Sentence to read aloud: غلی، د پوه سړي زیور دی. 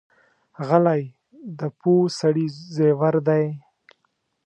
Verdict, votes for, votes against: accepted, 2, 1